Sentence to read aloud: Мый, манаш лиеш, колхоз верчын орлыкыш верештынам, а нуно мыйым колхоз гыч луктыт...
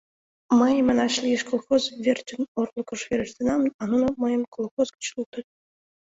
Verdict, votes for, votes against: accepted, 2, 0